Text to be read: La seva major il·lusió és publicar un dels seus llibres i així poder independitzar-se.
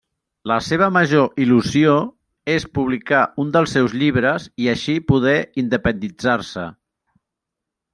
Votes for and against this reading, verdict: 0, 2, rejected